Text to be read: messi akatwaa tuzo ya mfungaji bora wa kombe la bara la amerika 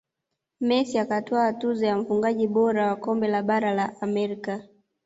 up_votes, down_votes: 0, 2